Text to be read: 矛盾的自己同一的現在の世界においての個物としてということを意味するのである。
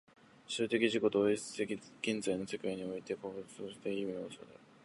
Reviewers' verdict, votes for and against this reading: rejected, 0, 2